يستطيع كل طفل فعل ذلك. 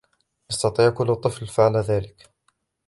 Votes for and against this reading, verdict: 2, 1, accepted